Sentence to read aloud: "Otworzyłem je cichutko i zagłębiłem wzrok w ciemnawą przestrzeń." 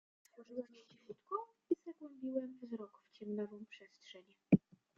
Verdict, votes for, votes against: rejected, 0, 2